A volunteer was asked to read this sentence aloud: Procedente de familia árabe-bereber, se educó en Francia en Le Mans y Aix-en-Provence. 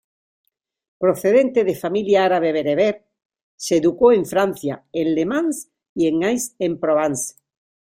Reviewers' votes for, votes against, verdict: 2, 1, accepted